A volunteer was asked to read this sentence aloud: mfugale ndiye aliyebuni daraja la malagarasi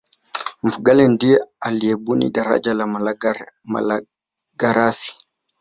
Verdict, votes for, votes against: rejected, 1, 3